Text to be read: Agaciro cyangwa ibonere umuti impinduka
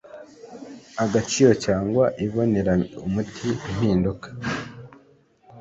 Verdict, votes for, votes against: accepted, 2, 1